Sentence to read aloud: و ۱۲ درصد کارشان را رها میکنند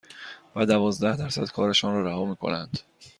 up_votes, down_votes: 0, 2